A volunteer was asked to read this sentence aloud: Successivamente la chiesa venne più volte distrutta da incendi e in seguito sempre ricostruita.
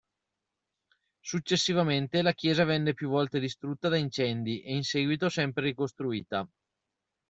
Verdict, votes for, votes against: accepted, 2, 0